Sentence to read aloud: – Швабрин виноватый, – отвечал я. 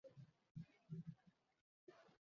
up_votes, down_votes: 0, 2